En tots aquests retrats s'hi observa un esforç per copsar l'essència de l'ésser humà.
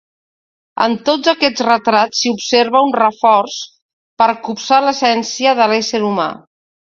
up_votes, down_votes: 1, 2